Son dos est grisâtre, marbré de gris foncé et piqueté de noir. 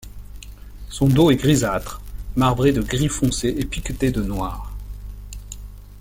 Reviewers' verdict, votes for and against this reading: accepted, 2, 0